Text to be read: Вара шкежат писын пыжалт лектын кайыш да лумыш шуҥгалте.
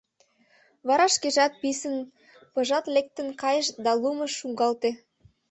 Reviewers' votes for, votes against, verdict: 2, 0, accepted